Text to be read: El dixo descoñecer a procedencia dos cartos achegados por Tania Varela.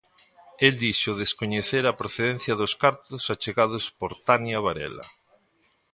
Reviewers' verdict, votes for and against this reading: accepted, 2, 0